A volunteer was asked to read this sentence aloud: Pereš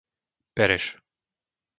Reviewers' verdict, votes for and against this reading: accepted, 2, 0